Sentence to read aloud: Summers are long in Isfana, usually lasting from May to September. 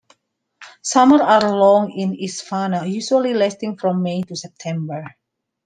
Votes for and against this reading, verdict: 2, 0, accepted